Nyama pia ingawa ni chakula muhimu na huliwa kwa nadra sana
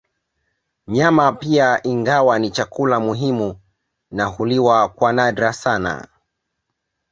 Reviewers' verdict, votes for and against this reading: accepted, 2, 0